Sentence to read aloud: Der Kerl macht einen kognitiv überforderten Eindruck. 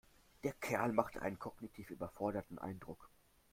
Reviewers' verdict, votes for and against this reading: accepted, 2, 1